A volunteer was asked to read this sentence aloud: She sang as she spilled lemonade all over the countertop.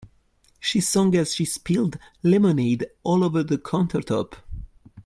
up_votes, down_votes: 1, 2